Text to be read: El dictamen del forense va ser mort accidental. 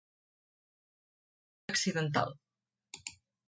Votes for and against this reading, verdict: 0, 2, rejected